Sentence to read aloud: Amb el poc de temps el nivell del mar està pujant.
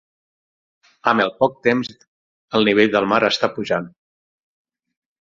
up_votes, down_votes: 0, 6